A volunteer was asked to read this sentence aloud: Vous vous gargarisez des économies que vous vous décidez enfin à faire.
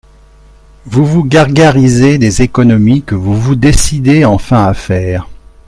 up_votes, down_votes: 4, 1